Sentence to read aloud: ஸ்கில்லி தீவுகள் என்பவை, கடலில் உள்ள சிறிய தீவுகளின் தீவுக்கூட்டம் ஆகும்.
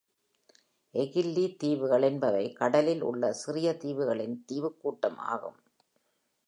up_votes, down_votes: 1, 3